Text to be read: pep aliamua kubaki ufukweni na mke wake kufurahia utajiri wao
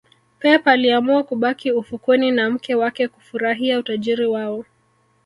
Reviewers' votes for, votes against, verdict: 3, 1, accepted